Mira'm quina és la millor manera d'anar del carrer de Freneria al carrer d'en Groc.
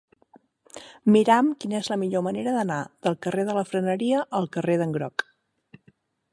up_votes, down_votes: 3, 6